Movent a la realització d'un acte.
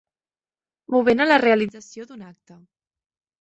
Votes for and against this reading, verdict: 1, 2, rejected